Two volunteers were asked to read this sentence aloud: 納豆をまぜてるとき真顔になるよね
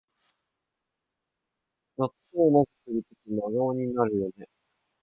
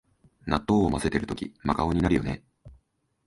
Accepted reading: second